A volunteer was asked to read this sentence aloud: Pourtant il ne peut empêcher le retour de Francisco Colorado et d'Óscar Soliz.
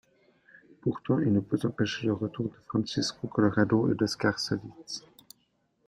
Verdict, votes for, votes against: rejected, 1, 2